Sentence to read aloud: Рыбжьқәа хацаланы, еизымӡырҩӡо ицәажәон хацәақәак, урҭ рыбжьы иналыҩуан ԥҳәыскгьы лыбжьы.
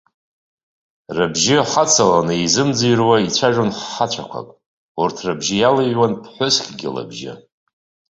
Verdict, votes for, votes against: rejected, 0, 2